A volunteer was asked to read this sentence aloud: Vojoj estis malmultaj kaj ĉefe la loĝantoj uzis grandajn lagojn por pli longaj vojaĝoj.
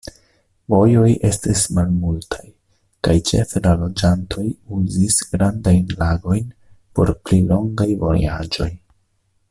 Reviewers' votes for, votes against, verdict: 2, 0, accepted